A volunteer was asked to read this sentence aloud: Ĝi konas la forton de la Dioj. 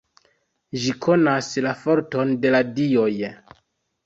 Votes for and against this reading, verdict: 2, 1, accepted